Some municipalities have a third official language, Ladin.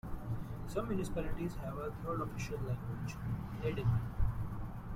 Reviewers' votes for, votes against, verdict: 0, 2, rejected